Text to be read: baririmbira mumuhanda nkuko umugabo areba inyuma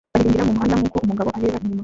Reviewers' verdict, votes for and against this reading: rejected, 1, 2